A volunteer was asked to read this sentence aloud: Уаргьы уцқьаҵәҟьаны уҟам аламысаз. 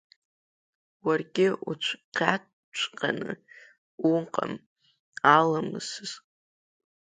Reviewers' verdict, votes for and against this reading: accepted, 2, 1